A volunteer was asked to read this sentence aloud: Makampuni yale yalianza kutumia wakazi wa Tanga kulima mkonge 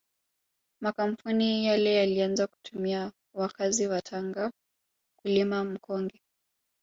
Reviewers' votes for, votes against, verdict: 0, 2, rejected